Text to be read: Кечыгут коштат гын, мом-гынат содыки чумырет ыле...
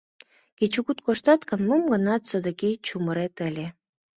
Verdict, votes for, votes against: accepted, 2, 0